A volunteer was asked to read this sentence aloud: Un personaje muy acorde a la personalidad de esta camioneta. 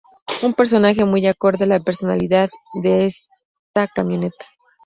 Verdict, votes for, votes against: accepted, 2, 0